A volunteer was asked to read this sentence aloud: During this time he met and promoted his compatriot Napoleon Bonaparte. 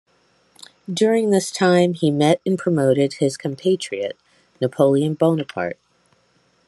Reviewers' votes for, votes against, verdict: 2, 0, accepted